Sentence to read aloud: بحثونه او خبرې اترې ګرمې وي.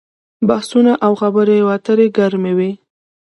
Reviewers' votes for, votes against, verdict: 2, 0, accepted